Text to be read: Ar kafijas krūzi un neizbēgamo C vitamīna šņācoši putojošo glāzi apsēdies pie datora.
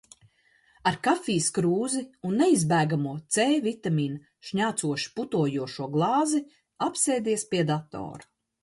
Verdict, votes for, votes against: accepted, 2, 0